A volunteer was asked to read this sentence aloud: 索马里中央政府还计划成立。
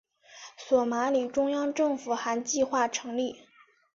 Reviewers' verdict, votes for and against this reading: accepted, 4, 0